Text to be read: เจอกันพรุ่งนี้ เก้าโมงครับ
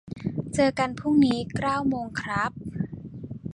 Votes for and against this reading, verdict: 1, 2, rejected